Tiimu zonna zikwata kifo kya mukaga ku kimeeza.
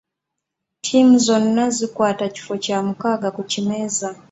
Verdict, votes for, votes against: accepted, 2, 1